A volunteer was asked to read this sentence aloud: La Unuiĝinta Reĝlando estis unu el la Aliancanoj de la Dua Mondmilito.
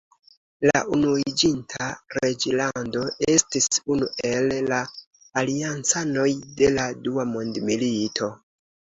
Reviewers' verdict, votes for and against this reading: rejected, 1, 2